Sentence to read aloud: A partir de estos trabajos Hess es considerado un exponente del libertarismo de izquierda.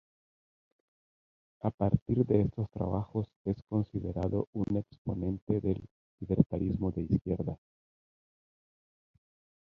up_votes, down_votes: 0, 2